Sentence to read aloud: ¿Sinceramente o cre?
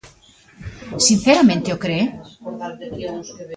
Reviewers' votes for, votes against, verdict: 1, 2, rejected